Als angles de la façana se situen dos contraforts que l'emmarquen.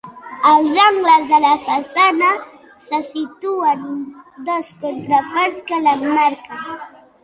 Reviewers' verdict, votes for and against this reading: accepted, 2, 0